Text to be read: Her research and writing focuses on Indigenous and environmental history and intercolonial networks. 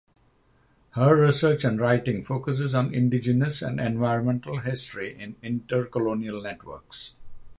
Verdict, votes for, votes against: rejected, 3, 3